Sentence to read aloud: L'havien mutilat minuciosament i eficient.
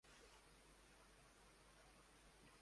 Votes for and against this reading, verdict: 0, 2, rejected